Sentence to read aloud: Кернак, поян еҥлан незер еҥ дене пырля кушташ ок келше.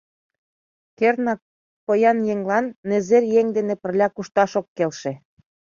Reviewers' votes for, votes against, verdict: 2, 0, accepted